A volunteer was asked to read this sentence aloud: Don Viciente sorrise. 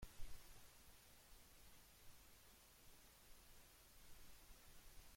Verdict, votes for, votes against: rejected, 0, 2